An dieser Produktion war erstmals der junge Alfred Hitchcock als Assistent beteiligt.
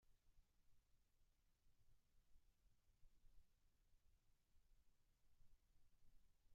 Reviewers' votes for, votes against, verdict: 0, 2, rejected